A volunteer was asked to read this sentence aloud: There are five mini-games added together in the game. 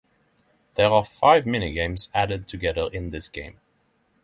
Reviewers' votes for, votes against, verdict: 3, 6, rejected